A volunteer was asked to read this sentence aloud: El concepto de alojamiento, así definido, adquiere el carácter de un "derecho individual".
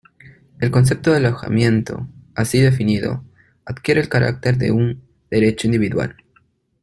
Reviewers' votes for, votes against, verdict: 2, 0, accepted